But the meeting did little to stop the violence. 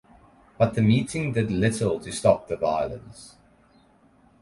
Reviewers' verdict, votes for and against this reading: accepted, 4, 0